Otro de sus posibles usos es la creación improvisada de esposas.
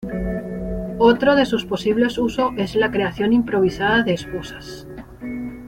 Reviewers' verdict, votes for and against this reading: rejected, 0, 2